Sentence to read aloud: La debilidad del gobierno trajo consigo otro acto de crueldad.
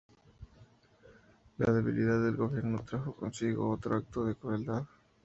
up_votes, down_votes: 2, 0